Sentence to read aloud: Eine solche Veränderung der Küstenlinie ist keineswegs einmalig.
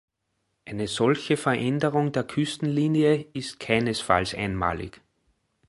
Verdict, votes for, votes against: rejected, 0, 2